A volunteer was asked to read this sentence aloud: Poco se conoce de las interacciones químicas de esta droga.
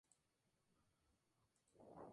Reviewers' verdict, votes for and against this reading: rejected, 0, 2